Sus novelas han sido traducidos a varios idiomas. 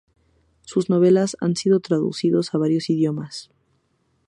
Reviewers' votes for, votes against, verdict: 2, 0, accepted